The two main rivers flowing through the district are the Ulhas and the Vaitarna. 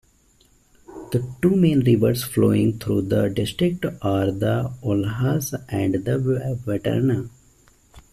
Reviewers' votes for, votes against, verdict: 0, 2, rejected